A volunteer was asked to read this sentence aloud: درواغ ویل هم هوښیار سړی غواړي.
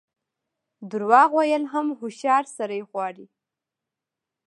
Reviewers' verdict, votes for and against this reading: rejected, 1, 2